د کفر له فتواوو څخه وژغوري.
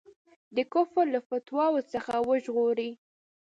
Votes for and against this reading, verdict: 2, 0, accepted